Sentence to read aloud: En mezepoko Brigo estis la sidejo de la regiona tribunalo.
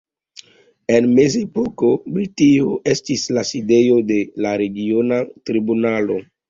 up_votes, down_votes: 1, 2